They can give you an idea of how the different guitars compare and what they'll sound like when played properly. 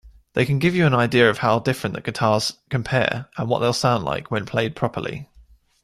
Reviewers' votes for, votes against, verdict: 2, 0, accepted